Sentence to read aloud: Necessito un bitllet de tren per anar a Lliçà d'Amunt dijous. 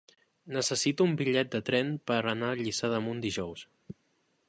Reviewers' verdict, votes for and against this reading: accepted, 3, 0